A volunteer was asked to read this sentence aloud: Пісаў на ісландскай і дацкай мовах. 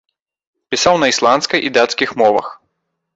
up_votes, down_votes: 1, 2